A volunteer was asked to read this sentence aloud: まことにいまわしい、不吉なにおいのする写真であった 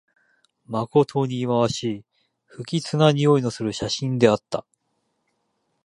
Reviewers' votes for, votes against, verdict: 1, 2, rejected